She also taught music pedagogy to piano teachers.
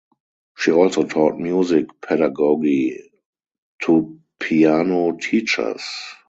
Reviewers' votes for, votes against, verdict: 2, 0, accepted